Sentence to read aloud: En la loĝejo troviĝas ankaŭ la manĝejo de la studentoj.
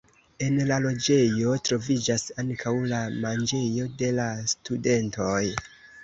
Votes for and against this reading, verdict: 2, 0, accepted